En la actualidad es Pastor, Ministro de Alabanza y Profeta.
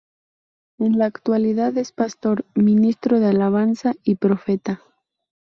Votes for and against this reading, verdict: 0, 2, rejected